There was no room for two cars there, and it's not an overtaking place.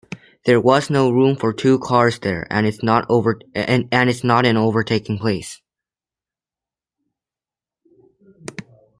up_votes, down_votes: 0, 2